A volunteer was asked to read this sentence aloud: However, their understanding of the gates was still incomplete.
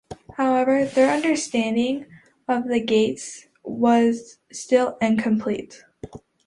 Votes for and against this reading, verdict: 2, 0, accepted